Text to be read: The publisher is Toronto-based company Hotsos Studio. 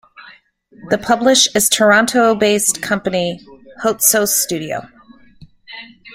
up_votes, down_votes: 0, 2